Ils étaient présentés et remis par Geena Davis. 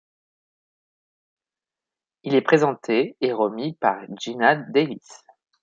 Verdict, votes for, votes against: rejected, 1, 2